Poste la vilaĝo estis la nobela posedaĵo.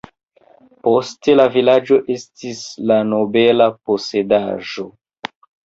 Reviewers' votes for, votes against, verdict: 2, 0, accepted